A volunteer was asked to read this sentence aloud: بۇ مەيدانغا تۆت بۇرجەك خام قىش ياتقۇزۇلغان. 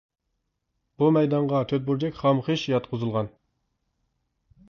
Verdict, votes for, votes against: accepted, 2, 0